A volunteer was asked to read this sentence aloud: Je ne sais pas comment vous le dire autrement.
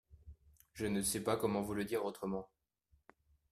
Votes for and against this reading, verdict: 2, 0, accepted